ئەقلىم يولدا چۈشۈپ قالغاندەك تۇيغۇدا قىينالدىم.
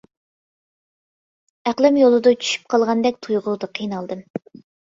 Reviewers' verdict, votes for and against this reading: accepted, 2, 0